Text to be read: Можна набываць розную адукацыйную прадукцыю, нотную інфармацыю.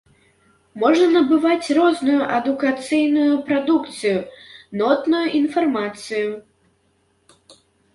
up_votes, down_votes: 2, 0